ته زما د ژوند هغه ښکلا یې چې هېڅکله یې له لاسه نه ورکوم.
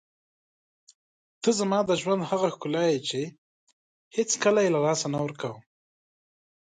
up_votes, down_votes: 2, 0